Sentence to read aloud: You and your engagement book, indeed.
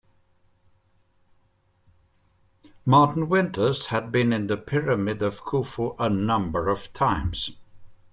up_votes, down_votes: 0, 2